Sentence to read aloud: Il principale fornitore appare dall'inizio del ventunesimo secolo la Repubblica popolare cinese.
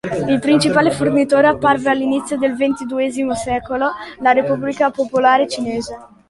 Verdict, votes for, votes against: accepted, 2, 1